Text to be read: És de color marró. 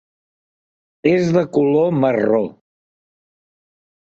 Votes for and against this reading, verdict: 3, 0, accepted